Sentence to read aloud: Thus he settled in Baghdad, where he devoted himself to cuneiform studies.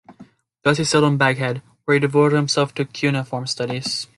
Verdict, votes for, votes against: rejected, 0, 2